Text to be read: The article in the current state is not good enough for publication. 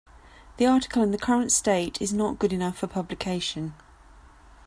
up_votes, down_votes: 2, 0